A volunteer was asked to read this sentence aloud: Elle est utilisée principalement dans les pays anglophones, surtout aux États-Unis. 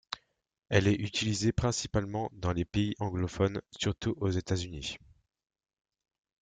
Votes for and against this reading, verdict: 0, 2, rejected